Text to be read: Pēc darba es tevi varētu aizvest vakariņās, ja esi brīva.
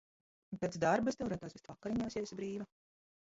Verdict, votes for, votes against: rejected, 0, 2